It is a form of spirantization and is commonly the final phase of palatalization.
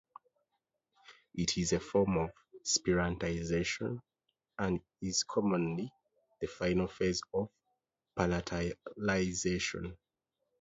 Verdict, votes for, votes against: rejected, 0, 2